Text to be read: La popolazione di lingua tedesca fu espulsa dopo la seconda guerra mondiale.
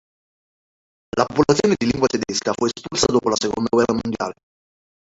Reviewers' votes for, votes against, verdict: 0, 3, rejected